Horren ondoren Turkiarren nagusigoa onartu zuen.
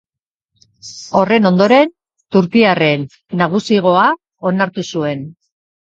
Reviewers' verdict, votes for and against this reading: accepted, 4, 0